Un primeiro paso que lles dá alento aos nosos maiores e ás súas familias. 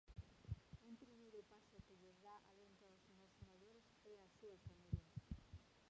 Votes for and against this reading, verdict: 0, 2, rejected